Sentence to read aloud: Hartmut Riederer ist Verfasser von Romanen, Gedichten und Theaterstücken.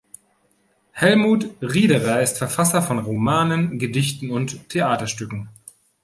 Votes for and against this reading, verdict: 0, 2, rejected